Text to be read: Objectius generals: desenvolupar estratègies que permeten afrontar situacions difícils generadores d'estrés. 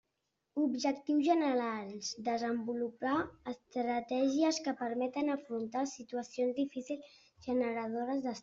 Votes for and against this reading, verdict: 0, 2, rejected